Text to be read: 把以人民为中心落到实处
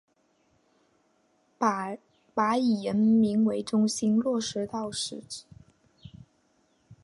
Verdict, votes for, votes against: accepted, 2, 1